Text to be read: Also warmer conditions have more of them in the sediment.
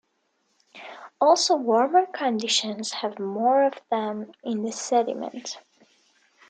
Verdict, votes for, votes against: accepted, 2, 1